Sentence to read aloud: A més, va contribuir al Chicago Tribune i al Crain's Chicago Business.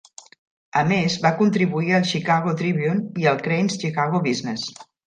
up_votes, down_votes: 2, 0